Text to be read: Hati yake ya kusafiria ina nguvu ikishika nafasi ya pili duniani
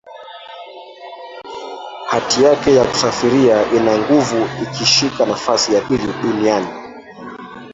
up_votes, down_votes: 0, 2